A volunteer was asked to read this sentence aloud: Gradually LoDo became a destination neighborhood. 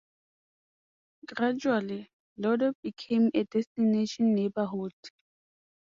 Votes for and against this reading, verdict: 2, 0, accepted